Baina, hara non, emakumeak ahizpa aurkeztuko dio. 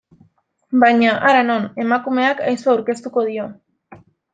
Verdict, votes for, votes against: accepted, 2, 0